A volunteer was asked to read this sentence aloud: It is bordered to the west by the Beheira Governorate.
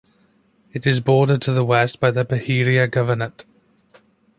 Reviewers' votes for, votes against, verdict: 3, 0, accepted